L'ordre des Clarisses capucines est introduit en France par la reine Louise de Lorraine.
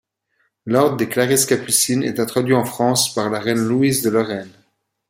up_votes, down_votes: 2, 0